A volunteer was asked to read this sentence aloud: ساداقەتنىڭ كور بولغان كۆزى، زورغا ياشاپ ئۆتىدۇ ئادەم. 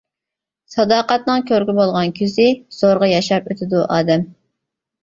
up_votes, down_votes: 1, 2